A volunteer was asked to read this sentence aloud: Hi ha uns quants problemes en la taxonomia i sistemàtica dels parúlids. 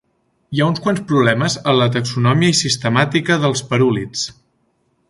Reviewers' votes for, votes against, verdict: 1, 2, rejected